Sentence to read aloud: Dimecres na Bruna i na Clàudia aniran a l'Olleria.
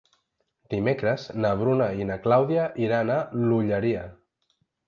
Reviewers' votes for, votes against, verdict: 2, 0, accepted